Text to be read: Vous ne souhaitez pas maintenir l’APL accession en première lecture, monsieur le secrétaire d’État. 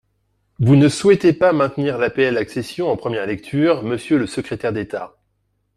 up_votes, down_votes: 2, 0